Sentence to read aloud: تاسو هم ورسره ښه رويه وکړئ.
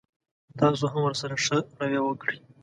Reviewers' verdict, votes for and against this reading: accepted, 2, 0